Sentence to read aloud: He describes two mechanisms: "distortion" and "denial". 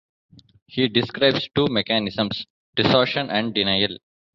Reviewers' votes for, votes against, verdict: 0, 2, rejected